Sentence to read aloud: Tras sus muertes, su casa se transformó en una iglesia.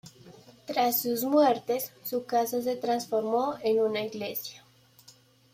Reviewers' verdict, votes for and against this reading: accepted, 2, 0